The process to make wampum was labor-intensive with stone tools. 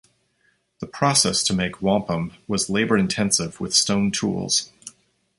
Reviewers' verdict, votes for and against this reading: accepted, 2, 0